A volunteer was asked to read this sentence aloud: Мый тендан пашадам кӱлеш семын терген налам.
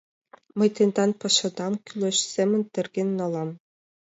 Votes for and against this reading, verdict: 2, 0, accepted